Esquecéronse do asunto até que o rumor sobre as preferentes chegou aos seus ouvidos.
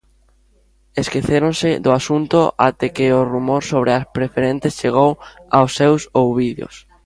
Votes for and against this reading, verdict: 1, 2, rejected